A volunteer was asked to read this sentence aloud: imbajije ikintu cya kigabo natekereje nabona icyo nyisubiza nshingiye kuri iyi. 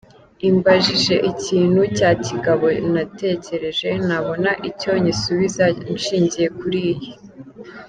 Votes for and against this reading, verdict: 2, 0, accepted